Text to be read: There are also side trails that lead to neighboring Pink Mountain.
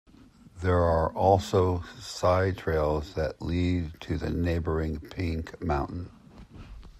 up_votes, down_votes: 0, 2